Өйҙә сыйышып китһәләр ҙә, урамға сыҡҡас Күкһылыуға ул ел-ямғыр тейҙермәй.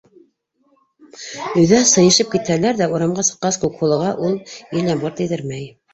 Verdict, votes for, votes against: rejected, 1, 2